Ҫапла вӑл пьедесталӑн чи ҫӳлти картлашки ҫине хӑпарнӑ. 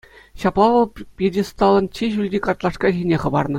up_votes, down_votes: 2, 0